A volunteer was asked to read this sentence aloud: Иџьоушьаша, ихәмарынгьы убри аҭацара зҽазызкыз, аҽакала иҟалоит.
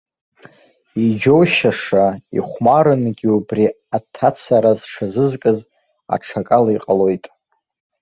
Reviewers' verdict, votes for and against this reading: rejected, 1, 2